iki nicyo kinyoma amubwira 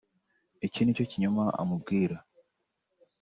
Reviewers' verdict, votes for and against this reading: accepted, 3, 0